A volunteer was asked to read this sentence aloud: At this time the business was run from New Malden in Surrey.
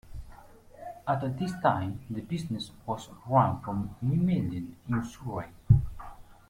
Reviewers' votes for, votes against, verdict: 0, 2, rejected